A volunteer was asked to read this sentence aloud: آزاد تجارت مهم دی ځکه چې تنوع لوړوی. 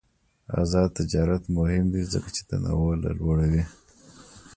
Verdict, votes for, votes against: accepted, 2, 0